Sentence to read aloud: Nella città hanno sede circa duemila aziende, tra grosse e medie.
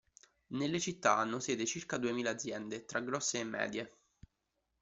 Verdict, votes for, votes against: rejected, 1, 2